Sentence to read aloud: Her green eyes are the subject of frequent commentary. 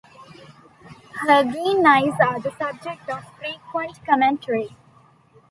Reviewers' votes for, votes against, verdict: 1, 2, rejected